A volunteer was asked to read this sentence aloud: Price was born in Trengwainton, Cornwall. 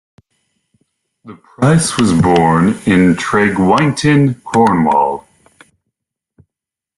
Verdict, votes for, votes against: rejected, 1, 2